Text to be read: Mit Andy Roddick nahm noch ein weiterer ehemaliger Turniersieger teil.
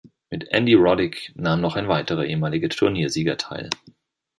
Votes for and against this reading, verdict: 2, 0, accepted